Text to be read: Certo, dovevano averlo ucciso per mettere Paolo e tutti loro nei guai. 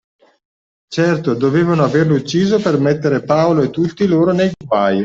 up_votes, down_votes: 2, 0